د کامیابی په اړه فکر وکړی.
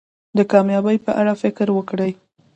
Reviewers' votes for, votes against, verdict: 2, 0, accepted